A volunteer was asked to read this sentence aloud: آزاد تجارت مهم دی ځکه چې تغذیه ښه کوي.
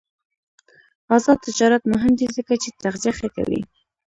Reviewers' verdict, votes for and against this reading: rejected, 1, 2